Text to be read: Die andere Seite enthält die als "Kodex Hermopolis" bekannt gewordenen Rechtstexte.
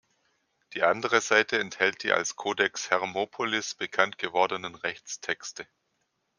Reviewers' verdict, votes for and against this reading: accepted, 2, 0